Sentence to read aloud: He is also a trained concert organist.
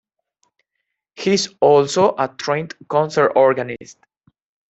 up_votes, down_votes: 0, 2